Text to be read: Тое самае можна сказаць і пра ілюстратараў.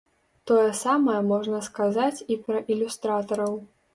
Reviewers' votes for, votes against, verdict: 2, 0, accepted